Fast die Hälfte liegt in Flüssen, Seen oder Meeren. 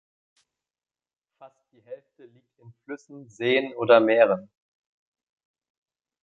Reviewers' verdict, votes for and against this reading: rejected, 1, 3